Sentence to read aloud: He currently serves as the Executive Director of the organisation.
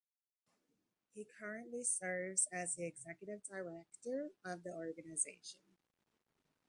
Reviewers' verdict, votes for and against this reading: rejected, 1, 2